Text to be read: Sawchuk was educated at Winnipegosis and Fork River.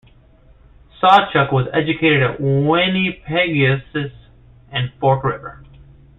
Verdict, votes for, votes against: rejected, 1, 2